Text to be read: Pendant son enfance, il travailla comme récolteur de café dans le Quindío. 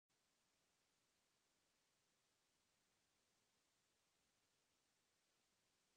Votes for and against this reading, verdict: 0, 2, rejected